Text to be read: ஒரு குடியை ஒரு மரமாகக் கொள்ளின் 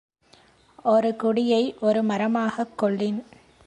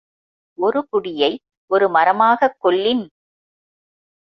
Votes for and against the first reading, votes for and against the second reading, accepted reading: 2, 0, 1, 2, first